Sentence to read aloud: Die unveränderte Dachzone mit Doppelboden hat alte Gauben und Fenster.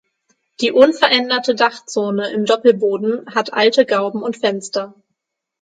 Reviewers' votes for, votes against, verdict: 3, 6, rejected